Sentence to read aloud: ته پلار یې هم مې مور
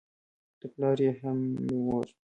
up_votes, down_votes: 1, 2